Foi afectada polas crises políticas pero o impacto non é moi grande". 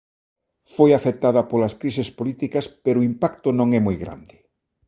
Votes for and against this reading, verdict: 3, 0, accepted